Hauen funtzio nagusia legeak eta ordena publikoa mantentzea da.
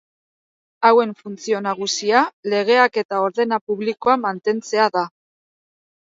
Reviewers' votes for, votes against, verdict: 3, 0, accepted